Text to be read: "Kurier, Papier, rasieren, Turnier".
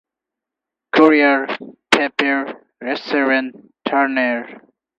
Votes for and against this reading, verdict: 4, 2, accepted